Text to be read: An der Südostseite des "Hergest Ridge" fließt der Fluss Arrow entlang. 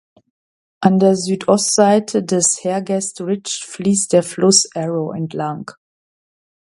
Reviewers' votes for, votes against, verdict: 2, 0, accepted